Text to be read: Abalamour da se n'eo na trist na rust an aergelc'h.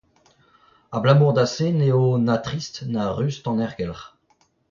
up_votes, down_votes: 0, 2